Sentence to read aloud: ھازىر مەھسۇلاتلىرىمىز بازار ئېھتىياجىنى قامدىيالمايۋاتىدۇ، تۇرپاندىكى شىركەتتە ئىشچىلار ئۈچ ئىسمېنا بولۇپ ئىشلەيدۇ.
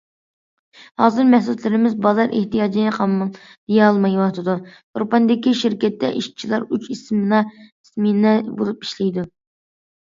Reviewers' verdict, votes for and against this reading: rejected, 1, 2